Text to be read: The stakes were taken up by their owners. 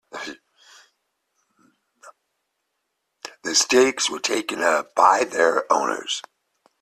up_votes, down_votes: 2, 0